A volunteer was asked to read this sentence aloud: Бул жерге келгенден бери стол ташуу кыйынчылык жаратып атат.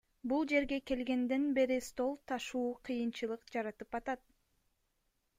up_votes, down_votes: 2, 0